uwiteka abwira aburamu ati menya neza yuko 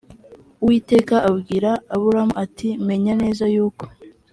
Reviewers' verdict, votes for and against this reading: accepted, 2, 0